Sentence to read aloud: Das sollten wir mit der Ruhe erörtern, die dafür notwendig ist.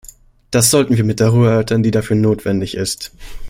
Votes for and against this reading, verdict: 1, 2, rejected